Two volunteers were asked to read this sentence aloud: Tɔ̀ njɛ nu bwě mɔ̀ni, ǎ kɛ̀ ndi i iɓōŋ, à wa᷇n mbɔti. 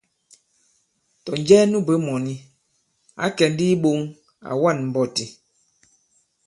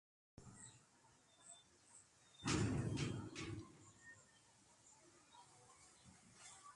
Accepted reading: first